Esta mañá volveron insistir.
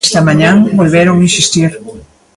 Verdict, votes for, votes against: accepted, 2, 1